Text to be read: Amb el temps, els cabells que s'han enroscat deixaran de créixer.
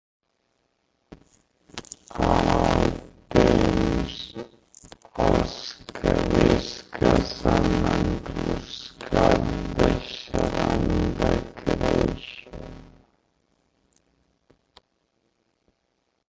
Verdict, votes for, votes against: rejected, 0, 2